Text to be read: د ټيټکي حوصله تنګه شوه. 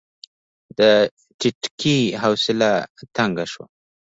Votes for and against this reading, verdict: 2, 0, accepted